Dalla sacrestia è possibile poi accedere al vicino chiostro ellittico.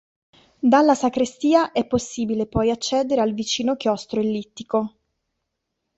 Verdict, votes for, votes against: accepted, 2, 0